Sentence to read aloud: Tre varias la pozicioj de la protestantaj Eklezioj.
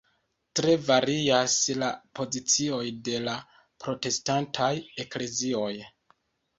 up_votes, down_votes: 2, 0